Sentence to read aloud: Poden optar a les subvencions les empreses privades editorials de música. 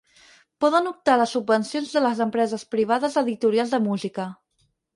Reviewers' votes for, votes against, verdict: 2, 4, rejected